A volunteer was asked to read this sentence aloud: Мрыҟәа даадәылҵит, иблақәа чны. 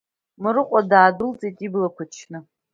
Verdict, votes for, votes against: rejected, 0, 2